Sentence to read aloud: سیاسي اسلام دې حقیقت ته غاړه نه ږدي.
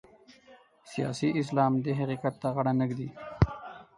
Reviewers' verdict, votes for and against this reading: rejected, 2, 4